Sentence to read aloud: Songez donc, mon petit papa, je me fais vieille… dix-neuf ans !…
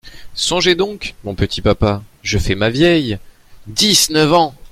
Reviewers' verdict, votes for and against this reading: rejected, 0, 2